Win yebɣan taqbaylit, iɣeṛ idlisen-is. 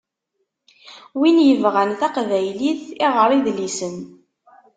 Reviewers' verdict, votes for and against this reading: rejected, 0, 2